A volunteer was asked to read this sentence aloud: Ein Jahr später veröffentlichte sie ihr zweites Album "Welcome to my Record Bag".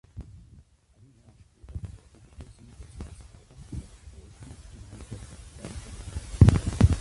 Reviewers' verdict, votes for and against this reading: rejected, 0, 2